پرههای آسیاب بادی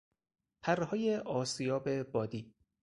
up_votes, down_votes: 4, 0